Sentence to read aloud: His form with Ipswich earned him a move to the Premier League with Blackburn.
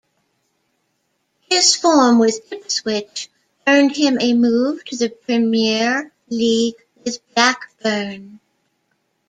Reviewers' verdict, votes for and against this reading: rejected, 0, 2